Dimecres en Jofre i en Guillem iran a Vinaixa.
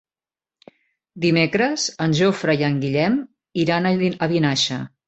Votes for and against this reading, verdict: 1, 2, rejected